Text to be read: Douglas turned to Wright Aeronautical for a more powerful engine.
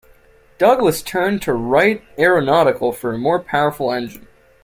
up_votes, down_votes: 0, 2